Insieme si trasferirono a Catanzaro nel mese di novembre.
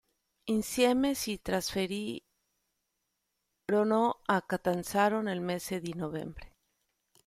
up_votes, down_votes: 0, 2